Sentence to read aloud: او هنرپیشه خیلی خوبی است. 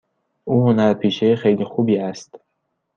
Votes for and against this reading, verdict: 2, 0, accepted